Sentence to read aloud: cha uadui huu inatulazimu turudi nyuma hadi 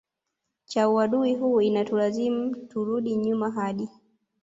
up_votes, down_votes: 1, 2